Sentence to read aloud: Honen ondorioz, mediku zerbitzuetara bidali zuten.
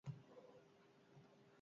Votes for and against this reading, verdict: 0, 4, rejected